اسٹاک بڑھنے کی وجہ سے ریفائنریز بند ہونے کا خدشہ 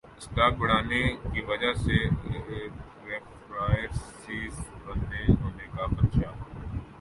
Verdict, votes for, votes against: rejected, 0, 3